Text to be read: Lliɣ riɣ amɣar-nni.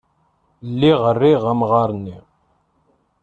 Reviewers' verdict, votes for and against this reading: accepted, 2, 0